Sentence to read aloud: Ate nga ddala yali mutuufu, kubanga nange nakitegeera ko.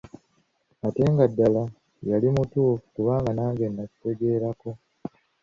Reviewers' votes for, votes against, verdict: 1, 2, rejected